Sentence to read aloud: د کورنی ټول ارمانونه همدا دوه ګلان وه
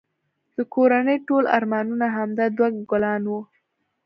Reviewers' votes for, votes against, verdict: 2, 0, accepted